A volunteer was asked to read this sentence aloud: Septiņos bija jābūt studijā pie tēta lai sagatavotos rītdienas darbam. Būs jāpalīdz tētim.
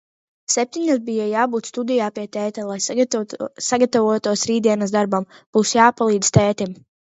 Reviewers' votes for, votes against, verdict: 0, 2, rejected